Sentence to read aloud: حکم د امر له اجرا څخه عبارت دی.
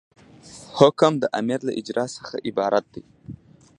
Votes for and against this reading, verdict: 2, 0, accepted